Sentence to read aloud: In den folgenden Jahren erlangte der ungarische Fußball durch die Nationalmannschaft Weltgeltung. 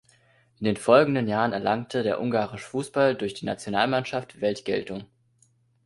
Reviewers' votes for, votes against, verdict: 2, 0, accepted